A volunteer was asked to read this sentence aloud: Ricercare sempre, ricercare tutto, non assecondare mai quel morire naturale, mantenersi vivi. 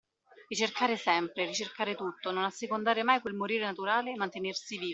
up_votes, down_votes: 2, 0